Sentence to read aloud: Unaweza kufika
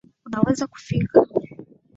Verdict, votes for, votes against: rejected, 0, 2